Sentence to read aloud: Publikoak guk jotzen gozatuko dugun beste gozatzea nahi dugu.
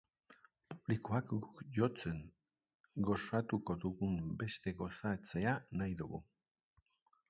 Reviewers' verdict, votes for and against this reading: rejected, 2, 3